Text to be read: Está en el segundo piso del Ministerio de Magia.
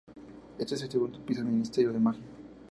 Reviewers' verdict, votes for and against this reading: accepted, 4, 0